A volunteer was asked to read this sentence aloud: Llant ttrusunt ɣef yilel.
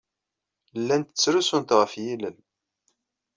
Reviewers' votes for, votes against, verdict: 2, 0, accepted